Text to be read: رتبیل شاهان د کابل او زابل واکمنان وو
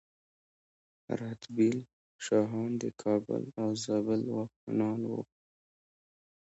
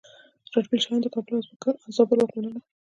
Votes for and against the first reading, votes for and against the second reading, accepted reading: 2, 1, 0, 2, first